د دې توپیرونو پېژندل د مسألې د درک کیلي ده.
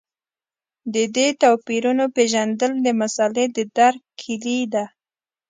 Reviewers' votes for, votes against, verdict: 2, 0, accepted